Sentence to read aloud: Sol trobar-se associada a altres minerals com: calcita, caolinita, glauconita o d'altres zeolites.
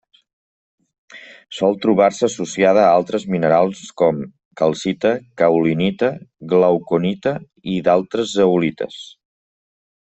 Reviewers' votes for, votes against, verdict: 1, 2, rejected